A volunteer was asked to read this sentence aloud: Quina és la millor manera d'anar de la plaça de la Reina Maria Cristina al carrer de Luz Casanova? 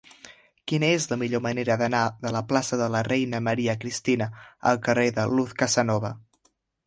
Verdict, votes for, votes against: accepted, 3, 0